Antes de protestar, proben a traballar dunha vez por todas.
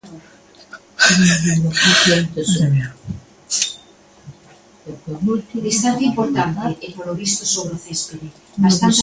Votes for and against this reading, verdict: 0, 2, rejected